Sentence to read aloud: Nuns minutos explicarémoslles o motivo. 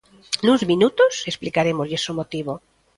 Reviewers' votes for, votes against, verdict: 2, 0, accepted